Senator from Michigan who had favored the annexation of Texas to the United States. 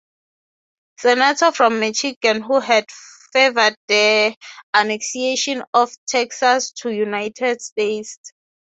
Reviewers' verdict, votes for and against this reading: rejected, 0, 3